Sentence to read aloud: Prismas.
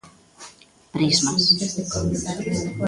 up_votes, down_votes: 2, 1